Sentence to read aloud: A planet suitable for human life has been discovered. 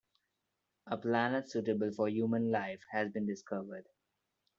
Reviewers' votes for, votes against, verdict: 2, 0, accepted